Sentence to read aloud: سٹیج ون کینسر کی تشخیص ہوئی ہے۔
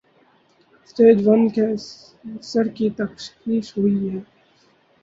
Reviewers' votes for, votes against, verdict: 2, 4, rejected